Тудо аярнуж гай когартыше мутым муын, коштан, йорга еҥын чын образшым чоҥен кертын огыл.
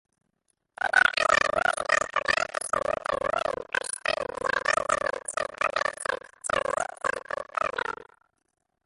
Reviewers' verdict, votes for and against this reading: rejected, 0, 2